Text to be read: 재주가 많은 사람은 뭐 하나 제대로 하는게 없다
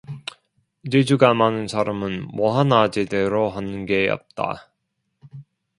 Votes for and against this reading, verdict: 1, 2, rejected